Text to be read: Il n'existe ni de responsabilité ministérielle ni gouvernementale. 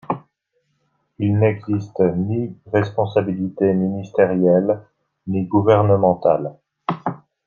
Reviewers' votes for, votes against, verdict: 1, 2, rejected